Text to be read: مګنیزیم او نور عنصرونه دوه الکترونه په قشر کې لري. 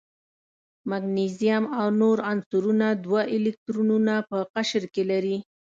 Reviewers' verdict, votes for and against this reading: accepted, 2, 0